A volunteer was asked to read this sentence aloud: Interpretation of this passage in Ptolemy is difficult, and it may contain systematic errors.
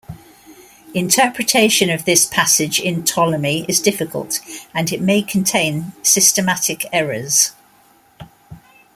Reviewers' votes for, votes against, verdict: 2, 0, accepted